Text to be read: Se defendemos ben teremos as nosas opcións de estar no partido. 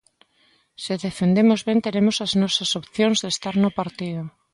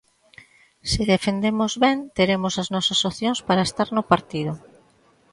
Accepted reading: first